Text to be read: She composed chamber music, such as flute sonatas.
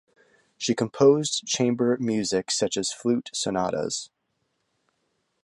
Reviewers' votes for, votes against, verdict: 2, 0, accepted